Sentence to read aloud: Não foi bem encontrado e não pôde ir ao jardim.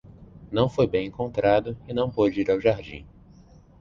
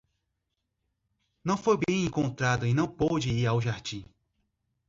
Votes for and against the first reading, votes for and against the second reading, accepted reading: 2, 0, 2, 3, first